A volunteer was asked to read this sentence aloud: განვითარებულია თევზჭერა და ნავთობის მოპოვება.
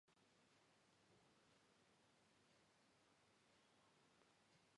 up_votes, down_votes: 1, 2